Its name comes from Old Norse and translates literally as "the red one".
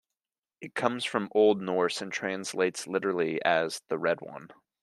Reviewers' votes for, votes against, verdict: 1, 2, rejected